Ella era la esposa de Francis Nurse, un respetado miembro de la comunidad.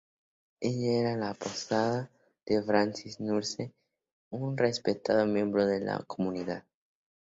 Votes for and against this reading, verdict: 2, 0, accepted